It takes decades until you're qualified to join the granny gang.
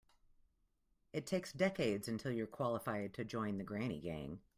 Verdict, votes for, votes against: accepted, 2, 0